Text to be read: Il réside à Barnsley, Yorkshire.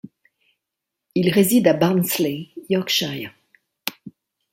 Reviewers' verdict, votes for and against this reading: accepted, 2, 0